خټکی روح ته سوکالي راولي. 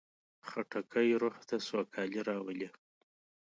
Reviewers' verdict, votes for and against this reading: accepted, 2, 0